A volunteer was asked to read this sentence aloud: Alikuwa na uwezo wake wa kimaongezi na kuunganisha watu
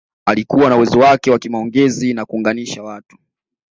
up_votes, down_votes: 2, 0